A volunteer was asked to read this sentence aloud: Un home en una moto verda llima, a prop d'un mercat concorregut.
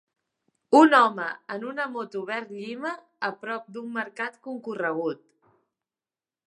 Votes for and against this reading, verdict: 2, 4, rejected